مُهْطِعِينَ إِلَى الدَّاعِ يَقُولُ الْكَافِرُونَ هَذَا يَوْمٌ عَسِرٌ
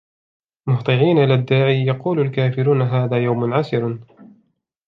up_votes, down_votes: 2, 0